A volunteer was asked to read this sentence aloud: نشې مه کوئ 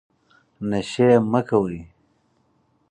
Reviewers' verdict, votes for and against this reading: accepted, 4, 0